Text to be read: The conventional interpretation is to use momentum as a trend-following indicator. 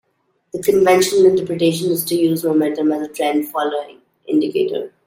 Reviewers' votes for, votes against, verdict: 2, 0, accepted